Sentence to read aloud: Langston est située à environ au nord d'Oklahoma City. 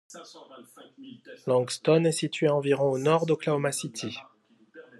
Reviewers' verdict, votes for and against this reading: rejected, 1, 2